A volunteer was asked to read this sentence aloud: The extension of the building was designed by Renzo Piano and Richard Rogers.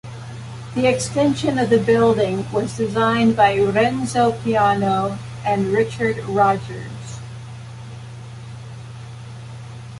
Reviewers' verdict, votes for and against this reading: accepted, 3, 0